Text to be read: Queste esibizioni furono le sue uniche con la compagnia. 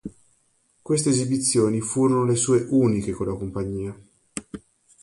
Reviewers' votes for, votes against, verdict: 2, 0, accepted